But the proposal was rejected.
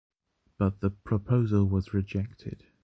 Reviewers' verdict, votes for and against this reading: accepted, 2, 0